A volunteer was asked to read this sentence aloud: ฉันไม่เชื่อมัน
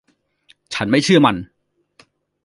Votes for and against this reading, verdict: 2, 0, accepted